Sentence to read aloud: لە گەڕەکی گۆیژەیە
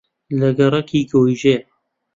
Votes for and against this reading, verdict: 2, 0, accepted